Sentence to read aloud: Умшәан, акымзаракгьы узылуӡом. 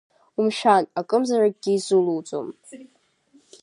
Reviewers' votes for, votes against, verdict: 1, 2, rejected